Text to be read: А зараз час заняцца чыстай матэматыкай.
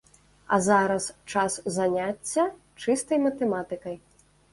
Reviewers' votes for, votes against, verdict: 1, 2, rejected